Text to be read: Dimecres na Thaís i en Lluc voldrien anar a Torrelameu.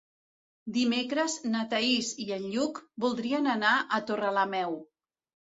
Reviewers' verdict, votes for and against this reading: accepted, 2, 0